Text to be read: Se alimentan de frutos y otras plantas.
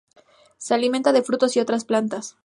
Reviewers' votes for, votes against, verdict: 4, 0, accepted